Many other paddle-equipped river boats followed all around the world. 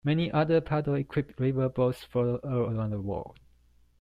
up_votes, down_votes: 1, 2